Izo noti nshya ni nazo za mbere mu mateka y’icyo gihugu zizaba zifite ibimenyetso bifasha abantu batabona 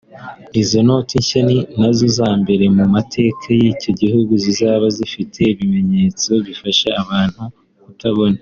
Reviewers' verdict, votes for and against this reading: rejected, 0, 2